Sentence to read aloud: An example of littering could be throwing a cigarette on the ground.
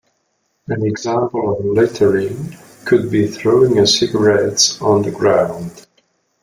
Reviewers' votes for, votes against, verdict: 0, 2, rejected